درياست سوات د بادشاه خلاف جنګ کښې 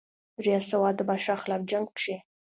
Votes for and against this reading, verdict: 2, 0, accepted